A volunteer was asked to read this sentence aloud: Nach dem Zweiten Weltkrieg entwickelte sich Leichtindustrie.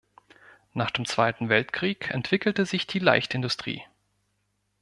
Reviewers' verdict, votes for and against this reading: rejected, 1, 2